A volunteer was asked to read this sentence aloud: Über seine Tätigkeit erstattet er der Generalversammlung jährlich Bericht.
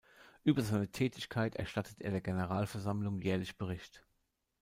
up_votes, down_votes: 2, 0